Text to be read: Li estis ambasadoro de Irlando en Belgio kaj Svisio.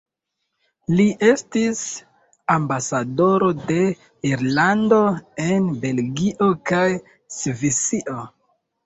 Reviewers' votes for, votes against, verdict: 2, 0, accepted